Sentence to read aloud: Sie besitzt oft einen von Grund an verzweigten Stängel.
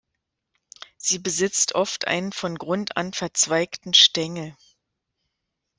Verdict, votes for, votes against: accepted, 2, 0